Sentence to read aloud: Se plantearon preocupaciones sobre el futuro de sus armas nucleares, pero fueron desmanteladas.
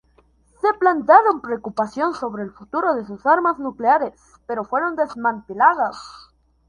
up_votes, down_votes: 0, 2